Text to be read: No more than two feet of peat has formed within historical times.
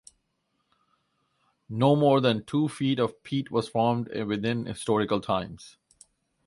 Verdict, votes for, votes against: rejected, 0, 2